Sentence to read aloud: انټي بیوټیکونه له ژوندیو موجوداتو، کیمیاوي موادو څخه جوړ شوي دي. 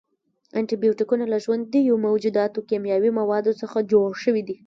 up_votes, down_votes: 1, 2